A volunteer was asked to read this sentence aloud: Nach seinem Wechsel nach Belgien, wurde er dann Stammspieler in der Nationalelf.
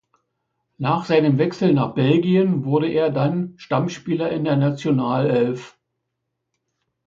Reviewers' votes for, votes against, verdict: 2, 0, accepted